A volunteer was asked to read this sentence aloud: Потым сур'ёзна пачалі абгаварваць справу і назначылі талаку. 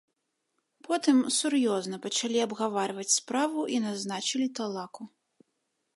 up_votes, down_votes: 0, 2